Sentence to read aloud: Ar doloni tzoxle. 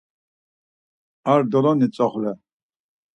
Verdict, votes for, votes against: accepted, 4, 0